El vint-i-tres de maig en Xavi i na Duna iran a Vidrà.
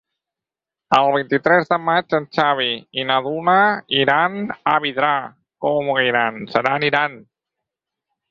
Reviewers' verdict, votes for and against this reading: rejected, 0, 4